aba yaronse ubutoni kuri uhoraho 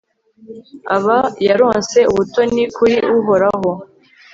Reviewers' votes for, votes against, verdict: 2, 0, accepted